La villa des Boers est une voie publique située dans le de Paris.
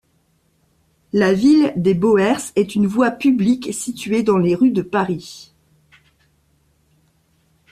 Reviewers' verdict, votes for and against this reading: rejected, 0, 2